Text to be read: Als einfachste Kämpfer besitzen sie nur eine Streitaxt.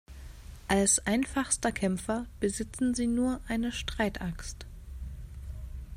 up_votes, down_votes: 0, 2